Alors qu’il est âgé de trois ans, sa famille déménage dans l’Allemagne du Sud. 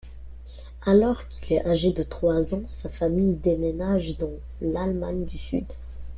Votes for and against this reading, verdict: 2, 3, rejected